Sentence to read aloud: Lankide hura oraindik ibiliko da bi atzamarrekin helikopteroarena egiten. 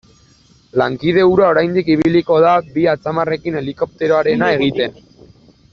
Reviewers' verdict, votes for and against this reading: accepted, 2, 1